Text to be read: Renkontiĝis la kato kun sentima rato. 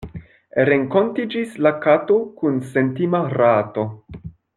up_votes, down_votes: 0, 2